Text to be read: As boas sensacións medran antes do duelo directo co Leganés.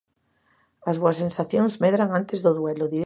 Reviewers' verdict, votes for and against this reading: rejected, 0, 2